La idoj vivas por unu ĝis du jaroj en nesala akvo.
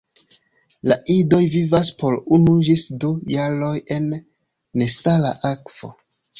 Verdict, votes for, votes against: rejected, 1, 2